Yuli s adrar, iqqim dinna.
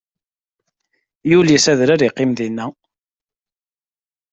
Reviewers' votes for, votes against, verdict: 2, 0, accepted